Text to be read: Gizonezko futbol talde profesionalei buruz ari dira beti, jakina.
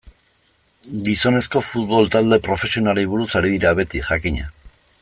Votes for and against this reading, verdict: 0, 2, rejected